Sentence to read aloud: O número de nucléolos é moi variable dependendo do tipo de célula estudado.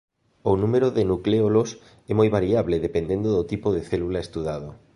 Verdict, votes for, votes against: accepted, 2, 0